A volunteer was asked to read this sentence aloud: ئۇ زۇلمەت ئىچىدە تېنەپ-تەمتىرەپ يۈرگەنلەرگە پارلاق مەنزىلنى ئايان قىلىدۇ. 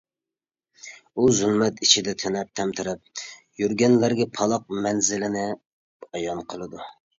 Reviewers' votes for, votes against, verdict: 0, 2, rejected